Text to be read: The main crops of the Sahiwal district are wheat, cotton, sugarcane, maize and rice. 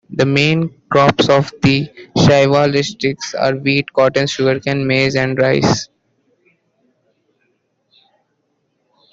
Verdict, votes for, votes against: rejected, 1, 2